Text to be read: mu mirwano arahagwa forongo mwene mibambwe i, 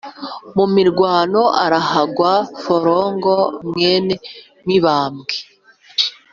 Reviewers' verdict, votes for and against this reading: accepted, 2, 0